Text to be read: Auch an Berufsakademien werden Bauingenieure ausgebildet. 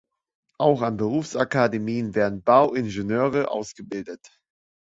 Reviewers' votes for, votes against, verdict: 2, 0, accepted